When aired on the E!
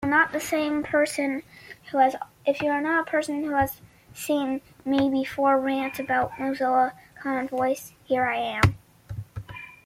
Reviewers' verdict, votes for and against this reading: rejected, 0, 2